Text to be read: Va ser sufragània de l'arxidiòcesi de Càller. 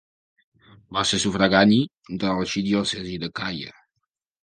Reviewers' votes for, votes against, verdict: 1, 2, rejected